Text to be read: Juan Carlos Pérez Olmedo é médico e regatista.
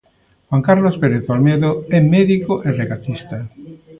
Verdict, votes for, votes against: rejected, 0, 2